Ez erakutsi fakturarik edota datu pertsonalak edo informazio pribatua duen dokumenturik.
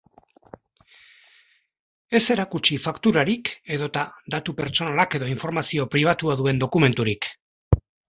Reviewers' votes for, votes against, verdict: 5, 0, accepted